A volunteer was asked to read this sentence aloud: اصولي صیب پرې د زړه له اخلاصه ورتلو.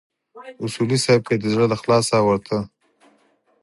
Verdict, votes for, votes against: rejected, 2, 4